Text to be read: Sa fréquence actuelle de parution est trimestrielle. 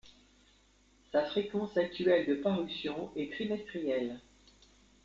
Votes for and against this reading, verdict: 2, 0, accepted